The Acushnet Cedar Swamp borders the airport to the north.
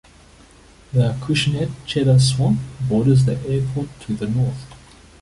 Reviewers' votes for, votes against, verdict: 0, 2, rejected